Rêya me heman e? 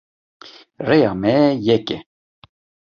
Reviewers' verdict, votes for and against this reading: rejected, 0, 2